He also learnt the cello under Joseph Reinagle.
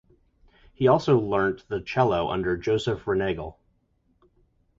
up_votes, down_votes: 0, 2